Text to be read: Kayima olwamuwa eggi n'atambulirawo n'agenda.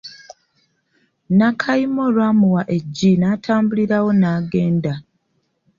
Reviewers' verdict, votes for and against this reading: rejected, 0, 2